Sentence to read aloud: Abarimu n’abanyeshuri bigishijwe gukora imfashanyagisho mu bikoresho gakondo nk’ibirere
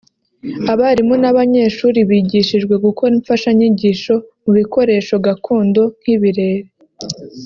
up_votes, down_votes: 1, 2